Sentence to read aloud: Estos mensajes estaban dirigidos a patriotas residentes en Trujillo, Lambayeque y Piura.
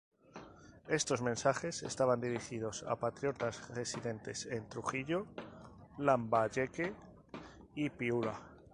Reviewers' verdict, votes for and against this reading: accepted, 2, 0